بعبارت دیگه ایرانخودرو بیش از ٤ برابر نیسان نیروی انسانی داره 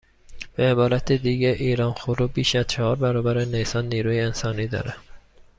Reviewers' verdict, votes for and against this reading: rejected, 0, 2